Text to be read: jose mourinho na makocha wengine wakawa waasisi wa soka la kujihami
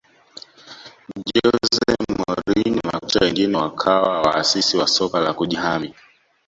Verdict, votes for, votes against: rejected, 1, 2